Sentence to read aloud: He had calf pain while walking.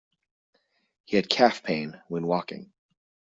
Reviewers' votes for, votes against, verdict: 0, 2, rejected